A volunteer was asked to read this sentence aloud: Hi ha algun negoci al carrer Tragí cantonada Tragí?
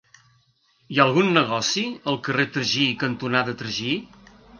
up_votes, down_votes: 2, 0